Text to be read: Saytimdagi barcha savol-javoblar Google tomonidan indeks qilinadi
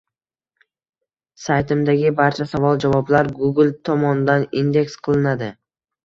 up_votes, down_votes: 0, 2